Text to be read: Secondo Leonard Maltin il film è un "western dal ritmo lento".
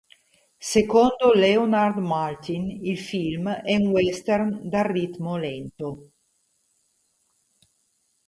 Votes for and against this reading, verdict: 2, 0, accepted